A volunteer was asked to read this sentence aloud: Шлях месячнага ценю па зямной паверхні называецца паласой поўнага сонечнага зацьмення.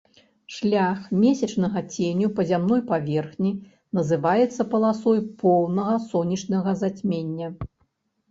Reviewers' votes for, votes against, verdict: 2, 0, accepted